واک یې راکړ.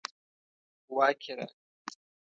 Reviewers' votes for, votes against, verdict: 1, 2, rejected